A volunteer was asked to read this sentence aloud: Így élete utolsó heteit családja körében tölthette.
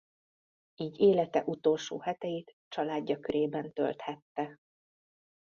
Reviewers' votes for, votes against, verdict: 2, 0, accepted